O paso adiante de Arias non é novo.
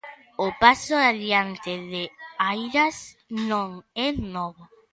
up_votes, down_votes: 0, 2